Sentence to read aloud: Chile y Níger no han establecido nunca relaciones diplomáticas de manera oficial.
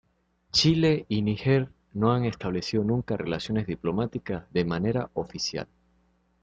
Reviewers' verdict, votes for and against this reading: accepted, 2, 1